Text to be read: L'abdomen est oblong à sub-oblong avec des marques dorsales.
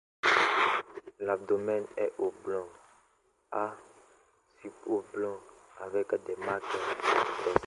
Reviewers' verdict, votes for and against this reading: rejected, 0, 2